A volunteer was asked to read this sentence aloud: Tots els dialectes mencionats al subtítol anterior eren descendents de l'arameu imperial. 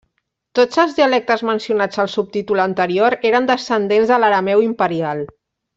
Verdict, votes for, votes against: accepted, 3, 0